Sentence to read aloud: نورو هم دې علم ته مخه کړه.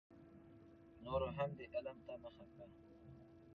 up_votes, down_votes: 2, 0